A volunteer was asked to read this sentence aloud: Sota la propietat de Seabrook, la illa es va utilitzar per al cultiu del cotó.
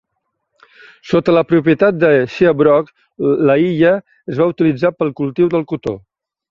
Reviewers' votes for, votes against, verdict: 1, 2, rejected